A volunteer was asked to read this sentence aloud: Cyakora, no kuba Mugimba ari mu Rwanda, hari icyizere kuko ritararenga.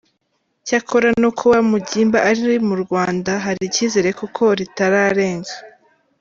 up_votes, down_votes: 3, 2